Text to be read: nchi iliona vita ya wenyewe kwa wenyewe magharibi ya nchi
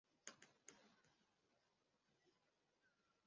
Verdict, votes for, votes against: rejected, 0, 2